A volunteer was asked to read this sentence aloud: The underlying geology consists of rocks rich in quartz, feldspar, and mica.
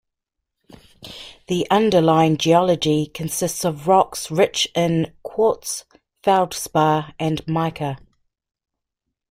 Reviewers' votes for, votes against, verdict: 2, 0, accepted